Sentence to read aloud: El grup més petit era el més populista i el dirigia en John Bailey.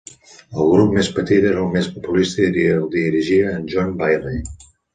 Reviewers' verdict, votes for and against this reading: rejected, 1, 2